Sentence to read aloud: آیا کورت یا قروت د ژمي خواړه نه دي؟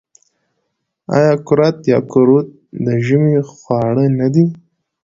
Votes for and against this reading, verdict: 2, 0, accepted